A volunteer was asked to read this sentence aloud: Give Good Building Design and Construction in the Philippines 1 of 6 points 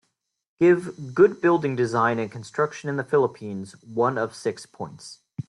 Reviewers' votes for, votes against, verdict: 0, 2, rejected